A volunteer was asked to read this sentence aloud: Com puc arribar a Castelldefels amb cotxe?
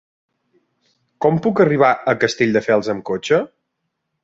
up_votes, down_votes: 2, 0